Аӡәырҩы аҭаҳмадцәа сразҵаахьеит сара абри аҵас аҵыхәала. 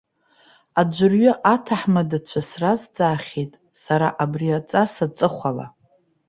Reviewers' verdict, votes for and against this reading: rejected, 1, 2